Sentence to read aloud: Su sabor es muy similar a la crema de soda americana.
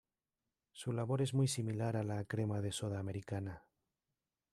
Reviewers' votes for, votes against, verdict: 0, 2, rejected